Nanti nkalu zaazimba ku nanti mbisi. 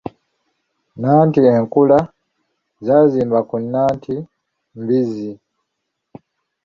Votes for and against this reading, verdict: 0, 2, rejected